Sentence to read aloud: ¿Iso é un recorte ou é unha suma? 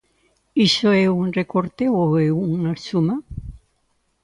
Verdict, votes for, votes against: accepted, 2, 1